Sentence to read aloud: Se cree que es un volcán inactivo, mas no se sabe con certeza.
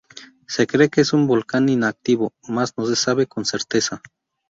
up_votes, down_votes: 0, 2